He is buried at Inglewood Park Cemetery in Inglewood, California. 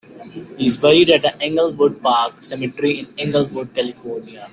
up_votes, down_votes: 1, 2